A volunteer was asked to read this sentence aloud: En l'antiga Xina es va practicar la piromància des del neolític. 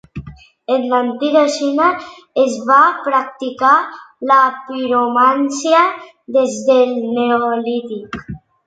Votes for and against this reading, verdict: 2, 0, accepted